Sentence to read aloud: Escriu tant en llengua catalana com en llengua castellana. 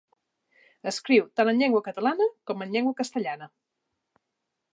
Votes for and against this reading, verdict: 2, 0, accepted